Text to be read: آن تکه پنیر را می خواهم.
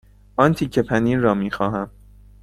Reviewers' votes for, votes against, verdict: 2, 0, accepted